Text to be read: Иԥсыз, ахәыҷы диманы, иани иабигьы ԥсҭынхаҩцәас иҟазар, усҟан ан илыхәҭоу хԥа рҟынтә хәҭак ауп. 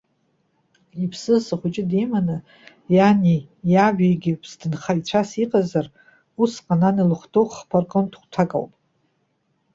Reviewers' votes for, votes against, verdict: 2, 0, accepted